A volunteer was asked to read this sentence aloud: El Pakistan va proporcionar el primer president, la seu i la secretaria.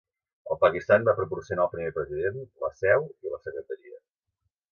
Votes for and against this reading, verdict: 2, 0, accepted